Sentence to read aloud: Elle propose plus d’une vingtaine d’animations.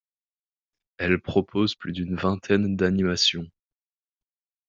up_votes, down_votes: 2, 0